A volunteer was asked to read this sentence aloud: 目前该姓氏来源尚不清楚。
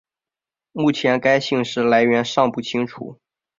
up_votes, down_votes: 2, 0